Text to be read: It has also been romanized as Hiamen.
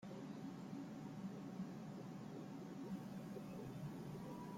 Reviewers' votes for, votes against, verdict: 0, 2, rejected